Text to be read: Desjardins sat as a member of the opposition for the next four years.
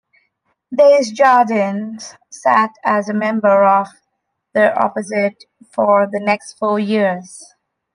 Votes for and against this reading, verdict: 0, 2, rejected